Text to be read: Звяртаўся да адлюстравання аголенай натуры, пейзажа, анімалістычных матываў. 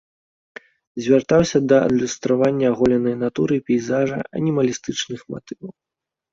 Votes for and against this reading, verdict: 2, 0, accepted